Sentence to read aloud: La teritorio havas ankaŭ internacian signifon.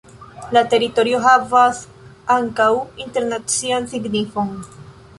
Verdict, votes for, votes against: accepted, 2, 0